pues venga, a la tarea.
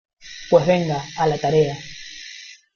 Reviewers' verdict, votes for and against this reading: rejected, 1, 2